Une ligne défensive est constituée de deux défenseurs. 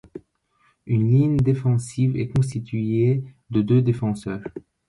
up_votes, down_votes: 0, 2